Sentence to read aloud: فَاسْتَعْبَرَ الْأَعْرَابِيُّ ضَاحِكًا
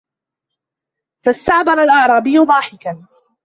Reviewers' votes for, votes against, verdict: 2, 1, accepted